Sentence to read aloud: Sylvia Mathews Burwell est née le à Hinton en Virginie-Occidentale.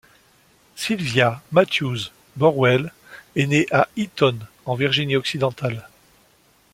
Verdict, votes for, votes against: rejected, 1, 2